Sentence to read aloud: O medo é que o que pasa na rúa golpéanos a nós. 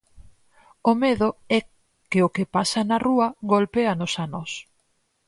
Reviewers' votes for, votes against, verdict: 4, 0, accepted